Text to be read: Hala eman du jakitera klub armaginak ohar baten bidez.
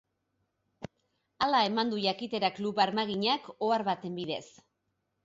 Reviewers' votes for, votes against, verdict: 6, 0, accepted